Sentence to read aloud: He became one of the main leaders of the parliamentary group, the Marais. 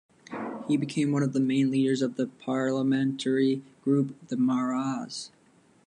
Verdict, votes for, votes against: accepted, 2, 0